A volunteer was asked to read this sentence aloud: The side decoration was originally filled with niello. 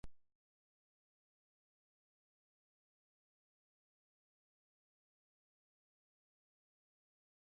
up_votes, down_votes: 0, 2